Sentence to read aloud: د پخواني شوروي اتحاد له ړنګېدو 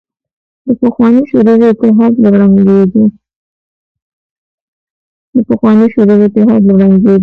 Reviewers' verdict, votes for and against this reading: rejected, 1, 2